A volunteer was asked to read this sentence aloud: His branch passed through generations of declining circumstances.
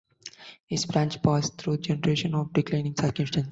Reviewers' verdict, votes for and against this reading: accepted, 2, 1